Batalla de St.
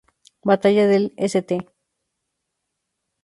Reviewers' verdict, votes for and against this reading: rejected, 0, 2